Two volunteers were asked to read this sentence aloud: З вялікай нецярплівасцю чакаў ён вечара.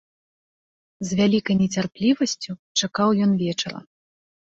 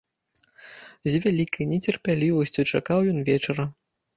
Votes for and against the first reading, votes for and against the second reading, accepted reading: 2, 0, 0, 2, first